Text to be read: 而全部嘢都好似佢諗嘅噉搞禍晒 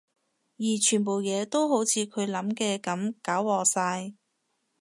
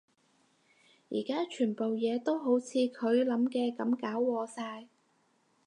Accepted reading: first